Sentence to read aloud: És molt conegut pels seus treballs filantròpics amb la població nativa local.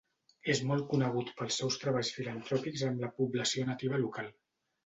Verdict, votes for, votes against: accepted, 2, 0